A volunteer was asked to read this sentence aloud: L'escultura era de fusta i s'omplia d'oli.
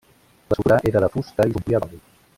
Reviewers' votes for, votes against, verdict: 1, 2, rejected